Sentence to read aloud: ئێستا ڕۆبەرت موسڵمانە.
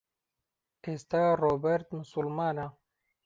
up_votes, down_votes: 2, 0